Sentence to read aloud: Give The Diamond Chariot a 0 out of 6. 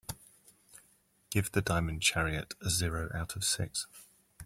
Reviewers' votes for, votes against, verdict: 0, 2, rejected